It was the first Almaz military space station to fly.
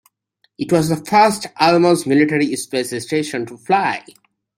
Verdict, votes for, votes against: accepted, 2, 0